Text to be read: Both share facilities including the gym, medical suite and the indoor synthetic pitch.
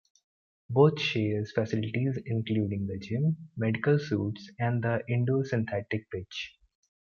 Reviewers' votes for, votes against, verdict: 2, 1, accepted